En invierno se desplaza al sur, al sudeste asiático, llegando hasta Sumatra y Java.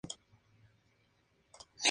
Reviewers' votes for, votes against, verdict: 0, 6, rejected